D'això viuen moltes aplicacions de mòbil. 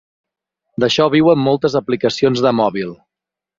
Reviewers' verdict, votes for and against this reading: accepted, 6, 0